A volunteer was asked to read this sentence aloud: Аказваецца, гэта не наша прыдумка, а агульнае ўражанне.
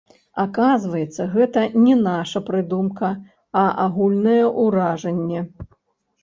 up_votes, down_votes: 1, 2